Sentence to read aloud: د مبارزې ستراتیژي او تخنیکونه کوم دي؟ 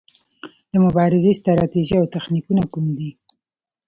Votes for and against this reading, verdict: 2, 1, accepted